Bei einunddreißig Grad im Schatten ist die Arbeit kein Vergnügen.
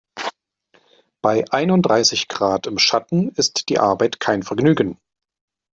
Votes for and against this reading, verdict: 2, 0, accepted